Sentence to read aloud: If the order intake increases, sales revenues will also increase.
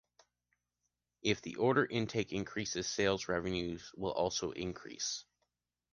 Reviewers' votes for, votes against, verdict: 3, 0, accepted